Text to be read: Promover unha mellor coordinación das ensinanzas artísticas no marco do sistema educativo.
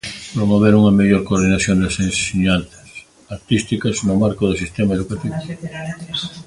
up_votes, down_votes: 0, 2